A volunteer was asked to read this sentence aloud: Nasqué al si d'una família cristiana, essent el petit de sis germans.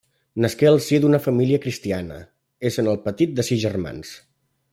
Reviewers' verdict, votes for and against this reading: rejected, 1, 2